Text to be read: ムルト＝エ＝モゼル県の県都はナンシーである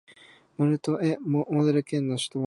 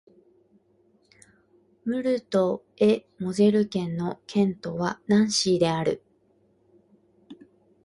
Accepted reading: second